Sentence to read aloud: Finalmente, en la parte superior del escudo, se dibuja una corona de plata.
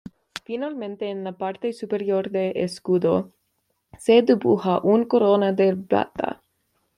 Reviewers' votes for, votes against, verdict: 2, 0, accepted